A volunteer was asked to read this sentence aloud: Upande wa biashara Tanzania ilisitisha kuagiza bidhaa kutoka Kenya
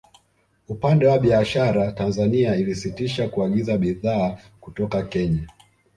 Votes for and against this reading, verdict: 0, 2, rejected